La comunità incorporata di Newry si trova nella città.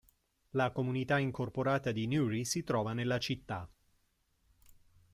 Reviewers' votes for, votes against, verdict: 2, 0, accepted